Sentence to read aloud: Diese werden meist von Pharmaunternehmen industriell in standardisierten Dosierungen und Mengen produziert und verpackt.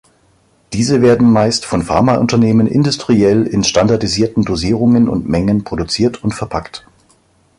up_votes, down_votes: 2, 0